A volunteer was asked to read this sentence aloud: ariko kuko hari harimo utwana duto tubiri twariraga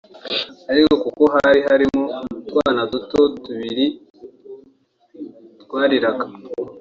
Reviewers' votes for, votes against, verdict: 2, 0, accepted